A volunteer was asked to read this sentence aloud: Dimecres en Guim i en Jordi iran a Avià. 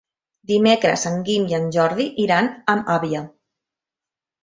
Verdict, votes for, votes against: rejected, 0, 2